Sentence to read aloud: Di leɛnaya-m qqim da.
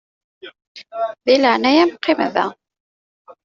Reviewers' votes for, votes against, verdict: 0, 2, rejected